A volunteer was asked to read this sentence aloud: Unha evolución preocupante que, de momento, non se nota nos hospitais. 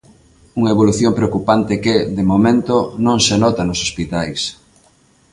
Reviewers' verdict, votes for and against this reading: accepted, 2, 0